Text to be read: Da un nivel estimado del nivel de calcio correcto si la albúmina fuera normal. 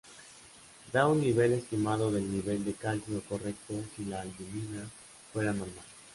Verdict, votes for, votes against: accepted, 2, 0